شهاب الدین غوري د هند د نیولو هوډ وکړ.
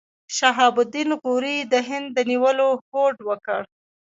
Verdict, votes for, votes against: rejected, 1, 2